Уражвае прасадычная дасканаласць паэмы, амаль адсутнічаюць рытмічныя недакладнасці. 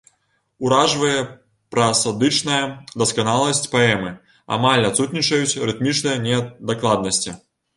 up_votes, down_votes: 1, 3